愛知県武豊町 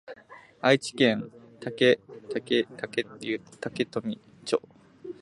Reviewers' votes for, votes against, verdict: 0, 2, rejected